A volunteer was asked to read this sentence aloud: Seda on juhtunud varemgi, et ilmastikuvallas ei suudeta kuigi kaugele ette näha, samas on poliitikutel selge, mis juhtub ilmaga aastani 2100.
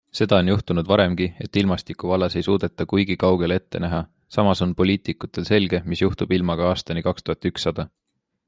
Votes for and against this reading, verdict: 0, 2, rejected